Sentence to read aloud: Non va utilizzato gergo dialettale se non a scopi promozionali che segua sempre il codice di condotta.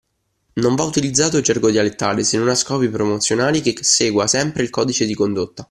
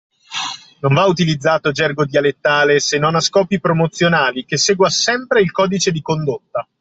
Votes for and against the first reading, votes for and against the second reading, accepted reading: 0, 2, 2, 0, second